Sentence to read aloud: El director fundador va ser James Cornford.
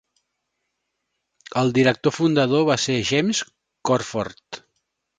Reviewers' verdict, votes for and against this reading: accepted, 2, 1